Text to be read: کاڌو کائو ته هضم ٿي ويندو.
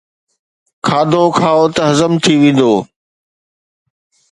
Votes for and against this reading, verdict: 2, 0, accepted